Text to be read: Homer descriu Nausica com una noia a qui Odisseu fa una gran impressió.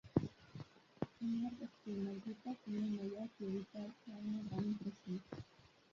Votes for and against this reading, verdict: 0, 3, rejected